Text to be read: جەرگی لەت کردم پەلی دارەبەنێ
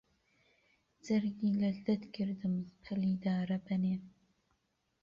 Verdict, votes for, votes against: rejected, 1, 2